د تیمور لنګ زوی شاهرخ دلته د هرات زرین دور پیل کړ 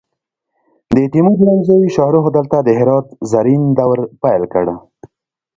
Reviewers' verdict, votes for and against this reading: accepted, 2, 1